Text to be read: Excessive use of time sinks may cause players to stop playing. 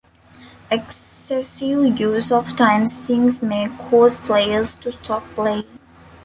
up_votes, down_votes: 1, 2